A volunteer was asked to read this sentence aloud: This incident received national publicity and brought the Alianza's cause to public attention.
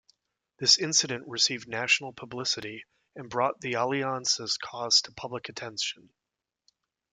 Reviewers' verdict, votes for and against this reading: accepted, 2, 0